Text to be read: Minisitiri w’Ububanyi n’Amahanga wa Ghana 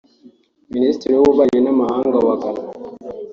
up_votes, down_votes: 3, 0